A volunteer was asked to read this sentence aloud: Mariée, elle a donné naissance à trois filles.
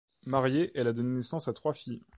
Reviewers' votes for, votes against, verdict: 2, 0, accepted